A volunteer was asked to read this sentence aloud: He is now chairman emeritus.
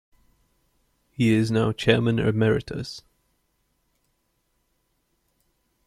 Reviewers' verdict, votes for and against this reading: accepted, 2, 1